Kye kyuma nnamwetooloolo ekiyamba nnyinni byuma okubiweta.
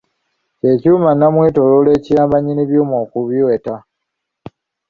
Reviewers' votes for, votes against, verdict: 2, 1, accepted